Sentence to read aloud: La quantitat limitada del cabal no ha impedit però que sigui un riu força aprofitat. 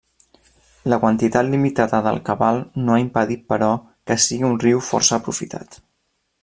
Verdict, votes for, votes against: accepted, 3, 0